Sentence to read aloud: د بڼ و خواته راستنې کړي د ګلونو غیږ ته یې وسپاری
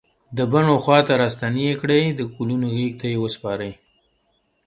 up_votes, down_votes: 2, 0